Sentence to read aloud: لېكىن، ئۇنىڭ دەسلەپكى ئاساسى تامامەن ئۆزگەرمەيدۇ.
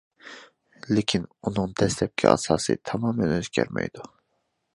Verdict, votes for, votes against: accepted, 2, 0